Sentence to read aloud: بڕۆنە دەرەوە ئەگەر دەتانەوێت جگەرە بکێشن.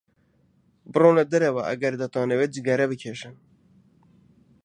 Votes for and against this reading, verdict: 2, 0, accepted